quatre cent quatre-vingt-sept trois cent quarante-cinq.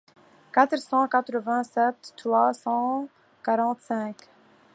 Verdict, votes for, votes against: accepted, 2, 0